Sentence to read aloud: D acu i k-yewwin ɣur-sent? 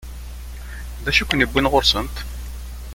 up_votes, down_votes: 1, 2